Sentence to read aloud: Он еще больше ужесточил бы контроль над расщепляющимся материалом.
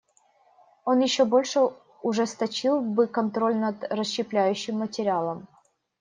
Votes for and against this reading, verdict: 2, 3, rejected